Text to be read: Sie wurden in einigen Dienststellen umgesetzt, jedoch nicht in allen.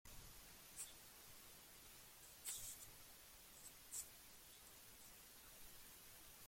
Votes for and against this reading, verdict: 0, 2, rejected